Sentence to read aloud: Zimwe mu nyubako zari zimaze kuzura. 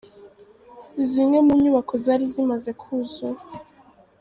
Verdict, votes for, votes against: rejected, 1, 2